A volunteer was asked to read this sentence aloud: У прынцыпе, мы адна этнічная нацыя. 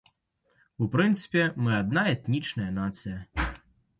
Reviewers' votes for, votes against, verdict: 2, 0, accepted